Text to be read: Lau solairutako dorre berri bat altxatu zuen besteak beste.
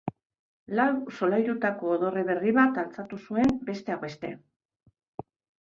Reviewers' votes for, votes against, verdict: 2, 0, accepted